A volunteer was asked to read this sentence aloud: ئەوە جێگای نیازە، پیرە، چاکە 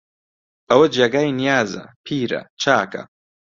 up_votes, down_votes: 2, 0